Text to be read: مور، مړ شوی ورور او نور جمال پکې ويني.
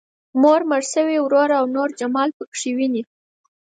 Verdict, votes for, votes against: accepted, 4, 0